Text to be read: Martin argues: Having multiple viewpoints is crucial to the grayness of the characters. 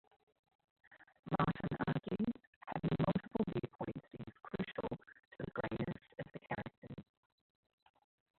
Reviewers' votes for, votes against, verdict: 0, 2, rejected